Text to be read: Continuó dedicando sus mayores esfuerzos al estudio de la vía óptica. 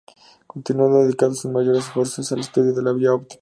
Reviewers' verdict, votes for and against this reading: accepted, 2, 0